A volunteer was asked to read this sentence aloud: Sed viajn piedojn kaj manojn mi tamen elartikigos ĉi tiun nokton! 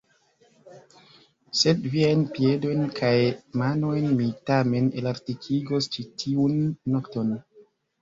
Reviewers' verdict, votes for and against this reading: rejected, 0, 2